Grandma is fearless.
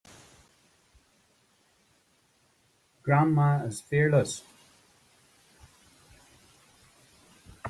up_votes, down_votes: 2, 0